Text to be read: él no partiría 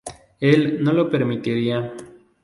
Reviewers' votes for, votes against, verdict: 0, 2, rejected